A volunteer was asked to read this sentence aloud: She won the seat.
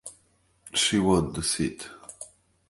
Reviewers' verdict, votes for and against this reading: accepted, 2, 0